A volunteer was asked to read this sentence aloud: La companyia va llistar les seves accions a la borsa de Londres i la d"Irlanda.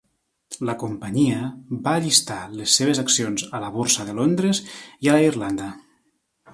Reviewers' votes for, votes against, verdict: 1, 2, rejected